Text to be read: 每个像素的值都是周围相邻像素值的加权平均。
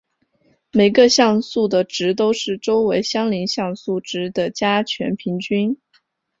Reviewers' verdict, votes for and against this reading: accepted, 3, 0